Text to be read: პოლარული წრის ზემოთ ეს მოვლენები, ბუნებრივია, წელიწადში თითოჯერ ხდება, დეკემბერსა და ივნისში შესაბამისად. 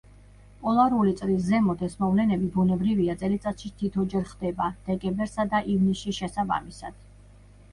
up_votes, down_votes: 1, 2